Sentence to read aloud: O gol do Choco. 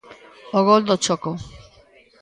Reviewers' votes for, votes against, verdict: 2, 0, accepted